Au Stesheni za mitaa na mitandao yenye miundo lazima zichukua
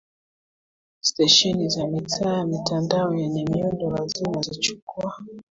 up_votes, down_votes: 1, 2